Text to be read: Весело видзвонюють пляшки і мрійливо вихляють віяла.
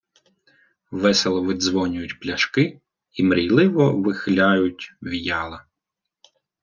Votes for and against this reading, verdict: 1, 2, rejected